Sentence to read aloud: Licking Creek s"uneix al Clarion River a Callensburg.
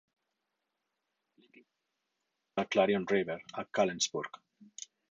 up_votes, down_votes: 0, 4